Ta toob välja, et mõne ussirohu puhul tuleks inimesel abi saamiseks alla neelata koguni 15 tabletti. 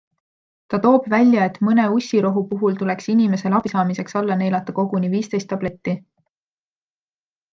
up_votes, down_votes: 0, 2